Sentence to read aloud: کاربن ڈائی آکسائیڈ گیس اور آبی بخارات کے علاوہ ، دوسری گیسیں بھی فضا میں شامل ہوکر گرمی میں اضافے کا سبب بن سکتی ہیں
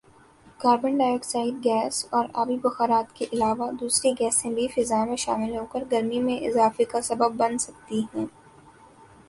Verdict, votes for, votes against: accepted, 2, 0